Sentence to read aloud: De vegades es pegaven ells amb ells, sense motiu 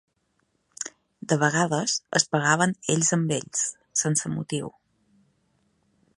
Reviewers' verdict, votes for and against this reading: accepted, 3, 0